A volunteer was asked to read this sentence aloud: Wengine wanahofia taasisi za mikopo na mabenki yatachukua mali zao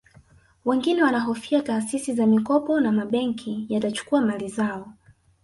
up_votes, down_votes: 1, 2